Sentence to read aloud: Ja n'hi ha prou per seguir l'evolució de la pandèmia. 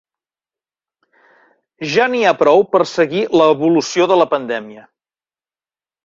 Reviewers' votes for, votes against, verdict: 3, 0, accepted